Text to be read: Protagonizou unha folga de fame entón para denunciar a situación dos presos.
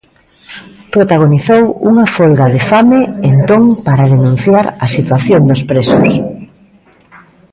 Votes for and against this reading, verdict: 2, 1, accepted